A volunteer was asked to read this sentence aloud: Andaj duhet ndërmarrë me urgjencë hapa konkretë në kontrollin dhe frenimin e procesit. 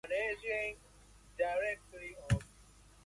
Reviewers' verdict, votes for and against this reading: rejected, 0, 2